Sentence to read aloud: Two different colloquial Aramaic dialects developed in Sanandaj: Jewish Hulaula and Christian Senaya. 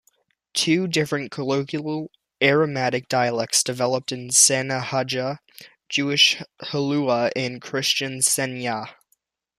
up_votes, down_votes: 1, 2